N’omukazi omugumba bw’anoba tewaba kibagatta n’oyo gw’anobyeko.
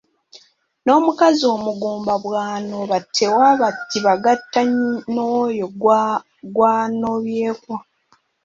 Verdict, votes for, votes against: rejected, 1, 2